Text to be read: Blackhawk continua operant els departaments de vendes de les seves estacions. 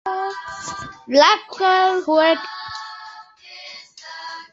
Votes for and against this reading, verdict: 0, 2, rejected